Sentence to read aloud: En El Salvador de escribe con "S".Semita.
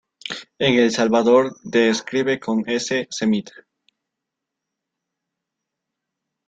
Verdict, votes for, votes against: rejected, 1, 2